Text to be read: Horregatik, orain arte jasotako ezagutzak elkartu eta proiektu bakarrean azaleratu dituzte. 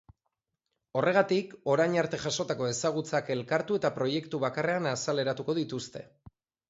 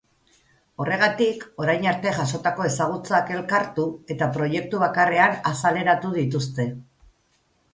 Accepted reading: second